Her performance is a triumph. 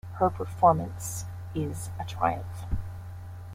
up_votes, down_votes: 2, 0